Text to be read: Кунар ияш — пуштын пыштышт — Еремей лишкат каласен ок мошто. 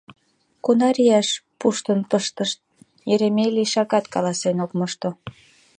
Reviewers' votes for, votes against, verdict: 3, 5, rejected